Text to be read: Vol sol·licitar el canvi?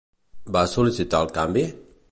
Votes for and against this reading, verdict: 0, 3, rejected